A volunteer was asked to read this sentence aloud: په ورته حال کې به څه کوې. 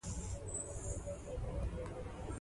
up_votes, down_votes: 0, 2